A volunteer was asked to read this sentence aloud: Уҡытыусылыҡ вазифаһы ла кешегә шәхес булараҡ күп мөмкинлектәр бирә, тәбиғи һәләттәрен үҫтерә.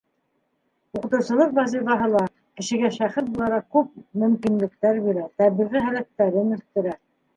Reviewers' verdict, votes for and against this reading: rejected, 0, 2